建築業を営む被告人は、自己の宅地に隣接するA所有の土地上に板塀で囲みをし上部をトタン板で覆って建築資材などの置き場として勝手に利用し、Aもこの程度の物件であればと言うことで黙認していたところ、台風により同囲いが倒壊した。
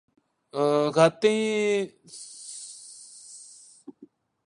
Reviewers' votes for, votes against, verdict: 1, 2, rejected